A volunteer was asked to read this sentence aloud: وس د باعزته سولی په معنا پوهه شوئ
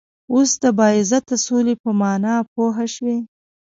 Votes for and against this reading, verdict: 2, 0, accepted